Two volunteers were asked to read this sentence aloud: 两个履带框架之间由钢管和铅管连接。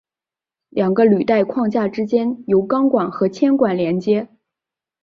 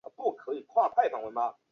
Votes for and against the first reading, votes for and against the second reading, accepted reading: 4, 0, 3, 4, first